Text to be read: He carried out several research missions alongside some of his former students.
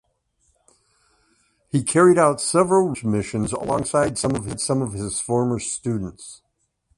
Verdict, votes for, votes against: rejected, 1, 2